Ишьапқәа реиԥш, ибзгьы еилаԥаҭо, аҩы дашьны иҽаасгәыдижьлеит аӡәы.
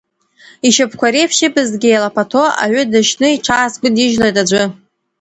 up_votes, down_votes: 2, 0